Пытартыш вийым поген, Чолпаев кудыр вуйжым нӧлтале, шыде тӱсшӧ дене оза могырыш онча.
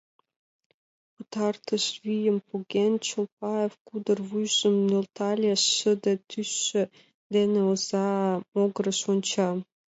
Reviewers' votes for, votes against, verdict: 2, 0, accepted